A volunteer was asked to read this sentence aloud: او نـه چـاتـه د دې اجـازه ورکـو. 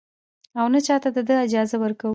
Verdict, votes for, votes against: accepted, 2, 1